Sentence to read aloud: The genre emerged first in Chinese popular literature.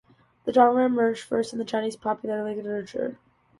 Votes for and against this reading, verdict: 2, 0, accepted